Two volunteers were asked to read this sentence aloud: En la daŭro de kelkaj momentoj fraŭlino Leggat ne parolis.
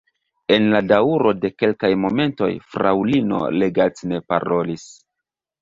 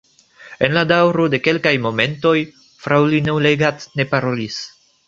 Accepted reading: first